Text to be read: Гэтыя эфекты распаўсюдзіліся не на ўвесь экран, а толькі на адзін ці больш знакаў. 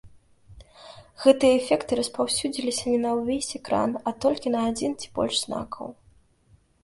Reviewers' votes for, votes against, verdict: 2, 0, accepted